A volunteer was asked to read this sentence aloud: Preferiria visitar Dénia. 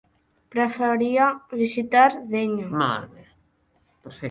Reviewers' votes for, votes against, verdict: 0, 3, rejected